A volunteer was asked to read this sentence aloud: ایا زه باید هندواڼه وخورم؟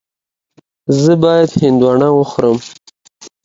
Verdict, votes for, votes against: accepted, 2, 0